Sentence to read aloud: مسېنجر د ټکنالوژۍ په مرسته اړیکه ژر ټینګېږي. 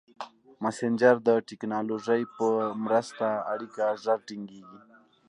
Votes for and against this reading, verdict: 2, 0, accepted